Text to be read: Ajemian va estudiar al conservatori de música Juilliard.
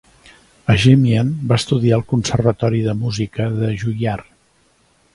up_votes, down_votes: 1, 2